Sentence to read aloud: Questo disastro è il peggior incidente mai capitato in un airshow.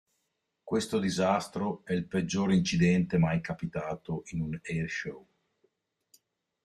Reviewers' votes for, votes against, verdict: 3, 0, accepted